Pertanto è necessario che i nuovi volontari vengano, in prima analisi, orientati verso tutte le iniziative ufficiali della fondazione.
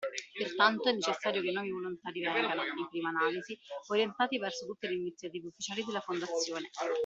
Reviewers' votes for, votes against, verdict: 1, 2, rejected